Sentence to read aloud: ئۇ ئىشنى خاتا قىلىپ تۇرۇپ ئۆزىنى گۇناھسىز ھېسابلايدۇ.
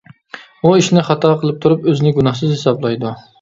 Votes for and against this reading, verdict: 2, 0, accepted